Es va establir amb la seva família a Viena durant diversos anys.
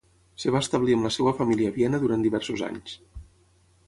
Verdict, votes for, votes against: rejected, 3, 3